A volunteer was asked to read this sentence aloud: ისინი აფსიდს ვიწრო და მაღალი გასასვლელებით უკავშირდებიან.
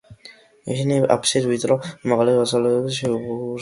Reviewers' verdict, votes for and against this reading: rejected, 0, 2